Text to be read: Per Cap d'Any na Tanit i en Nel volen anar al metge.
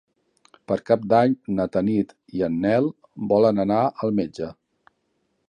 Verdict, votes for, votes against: accepted, 5, 0